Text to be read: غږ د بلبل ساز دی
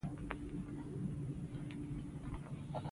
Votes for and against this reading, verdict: 2, 0, accepted